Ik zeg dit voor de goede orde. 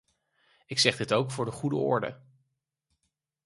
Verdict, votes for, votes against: rejected, 0, 4